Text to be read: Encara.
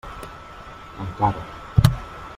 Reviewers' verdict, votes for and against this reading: rejected, 1, 3